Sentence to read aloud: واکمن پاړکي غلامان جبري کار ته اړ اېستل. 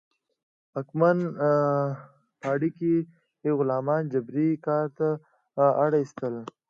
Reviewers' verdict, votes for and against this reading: accepted, 2, 1